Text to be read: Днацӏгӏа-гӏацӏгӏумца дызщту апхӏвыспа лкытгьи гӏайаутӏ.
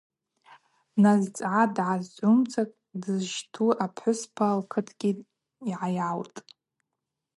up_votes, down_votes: 0, 2